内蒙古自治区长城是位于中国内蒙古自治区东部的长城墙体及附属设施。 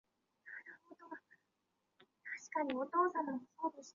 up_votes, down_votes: 0, 2